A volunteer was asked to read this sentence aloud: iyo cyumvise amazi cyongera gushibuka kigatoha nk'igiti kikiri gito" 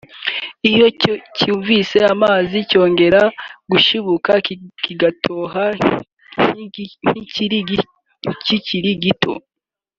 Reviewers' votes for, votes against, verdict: 0, 2, rejected